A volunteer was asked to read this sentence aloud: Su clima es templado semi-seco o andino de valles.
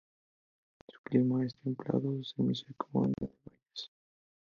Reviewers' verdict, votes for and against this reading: rejected, 0, 2